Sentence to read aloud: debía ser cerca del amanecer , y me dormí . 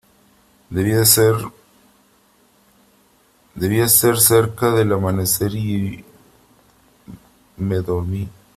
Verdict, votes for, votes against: rejected, 0, 3